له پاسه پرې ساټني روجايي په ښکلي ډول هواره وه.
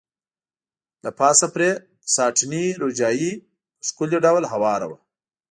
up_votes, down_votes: 3, 0